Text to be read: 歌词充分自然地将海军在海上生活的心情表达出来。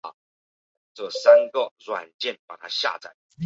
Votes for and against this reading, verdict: 0, 3, rejected